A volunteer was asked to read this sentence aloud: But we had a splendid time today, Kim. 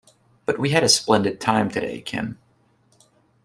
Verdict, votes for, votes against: accepted, 2, 0